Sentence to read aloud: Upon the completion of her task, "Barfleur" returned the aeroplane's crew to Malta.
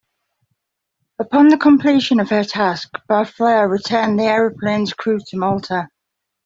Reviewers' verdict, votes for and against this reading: rejected, 1, 2